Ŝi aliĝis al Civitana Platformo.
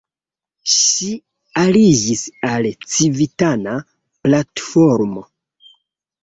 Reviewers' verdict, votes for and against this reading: accepted, 2, 1